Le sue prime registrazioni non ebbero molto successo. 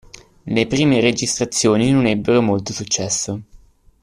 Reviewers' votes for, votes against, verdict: 0, 2, rejected